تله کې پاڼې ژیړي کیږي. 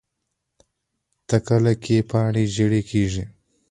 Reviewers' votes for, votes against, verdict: 1, 2, rejected